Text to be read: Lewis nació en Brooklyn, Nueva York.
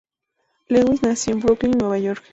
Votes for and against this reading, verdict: 2, 0, accepted